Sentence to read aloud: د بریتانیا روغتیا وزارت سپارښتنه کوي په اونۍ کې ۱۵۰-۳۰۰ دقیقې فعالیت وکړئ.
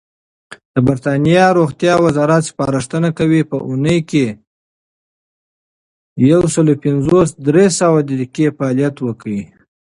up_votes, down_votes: 0, 2